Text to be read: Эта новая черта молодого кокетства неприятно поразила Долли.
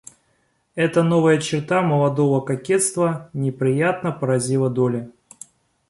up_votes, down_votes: 1, 2